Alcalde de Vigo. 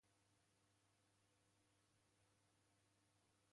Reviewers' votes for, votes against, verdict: 0, 2, rejected